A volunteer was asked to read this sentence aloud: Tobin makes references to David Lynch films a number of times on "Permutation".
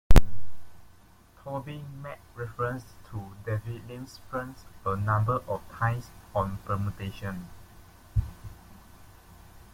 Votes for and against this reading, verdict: 1, 2, rejected